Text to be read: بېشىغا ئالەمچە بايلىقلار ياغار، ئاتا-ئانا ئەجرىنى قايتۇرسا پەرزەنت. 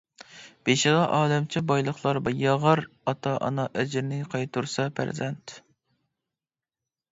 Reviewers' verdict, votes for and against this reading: rejected, 1, 2